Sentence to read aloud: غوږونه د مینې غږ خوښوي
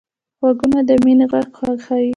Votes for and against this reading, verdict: 2, 1, accepted